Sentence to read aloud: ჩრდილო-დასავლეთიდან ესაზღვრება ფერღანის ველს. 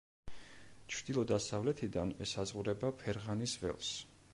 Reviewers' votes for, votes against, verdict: 3, 0, accepted